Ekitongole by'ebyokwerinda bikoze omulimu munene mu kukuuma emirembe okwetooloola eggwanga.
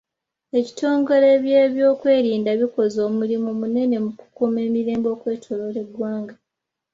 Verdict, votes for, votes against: accepted, 2, 0